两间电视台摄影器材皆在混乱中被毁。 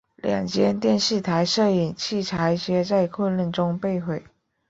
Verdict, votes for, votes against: rejected, 1, 3